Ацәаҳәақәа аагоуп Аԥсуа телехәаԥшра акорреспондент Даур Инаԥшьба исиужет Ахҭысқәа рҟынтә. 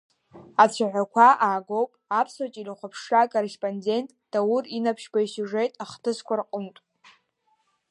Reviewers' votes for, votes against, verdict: 2, 3, rejected